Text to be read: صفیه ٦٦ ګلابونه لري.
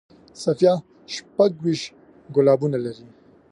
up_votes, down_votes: 0, 2